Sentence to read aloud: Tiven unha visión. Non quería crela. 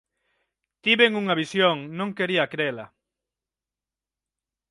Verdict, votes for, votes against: accepted, 6, 0